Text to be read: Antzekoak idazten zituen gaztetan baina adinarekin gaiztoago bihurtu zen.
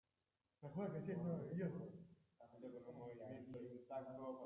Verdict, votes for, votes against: rejected, 0, 2